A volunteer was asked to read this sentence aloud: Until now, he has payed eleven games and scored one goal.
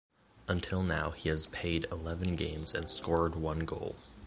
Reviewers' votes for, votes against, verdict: 2, 0, accepted